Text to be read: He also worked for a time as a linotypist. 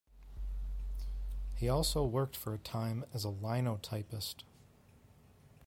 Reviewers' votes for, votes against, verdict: 2, 0, accepted